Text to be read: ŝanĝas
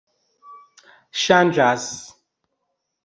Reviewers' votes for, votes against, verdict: 2, 0, accepted